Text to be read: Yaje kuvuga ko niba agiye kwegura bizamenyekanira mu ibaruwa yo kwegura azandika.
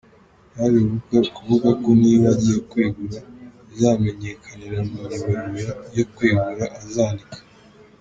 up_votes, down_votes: 0, 2